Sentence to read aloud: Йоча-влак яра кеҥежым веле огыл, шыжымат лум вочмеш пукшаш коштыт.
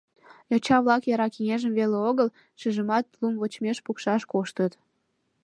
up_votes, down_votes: 2, 0